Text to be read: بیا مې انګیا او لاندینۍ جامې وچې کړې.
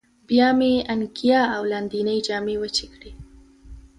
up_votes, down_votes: 2, 0